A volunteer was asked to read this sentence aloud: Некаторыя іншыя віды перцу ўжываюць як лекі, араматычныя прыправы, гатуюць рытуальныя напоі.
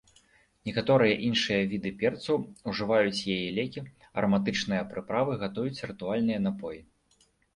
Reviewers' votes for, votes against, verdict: 0, 2, rejected